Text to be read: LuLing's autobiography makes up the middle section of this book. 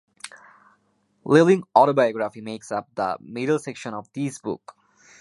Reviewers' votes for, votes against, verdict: 0, 2, rejected